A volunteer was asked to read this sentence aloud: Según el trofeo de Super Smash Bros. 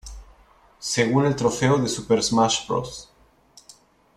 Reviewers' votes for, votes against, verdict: 2, 0, accepted